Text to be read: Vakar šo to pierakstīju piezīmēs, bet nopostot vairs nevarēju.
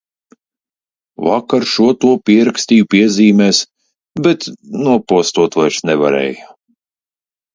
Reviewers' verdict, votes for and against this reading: accepted, 2, 0